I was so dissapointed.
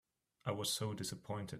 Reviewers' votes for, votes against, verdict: 3, 0, accepted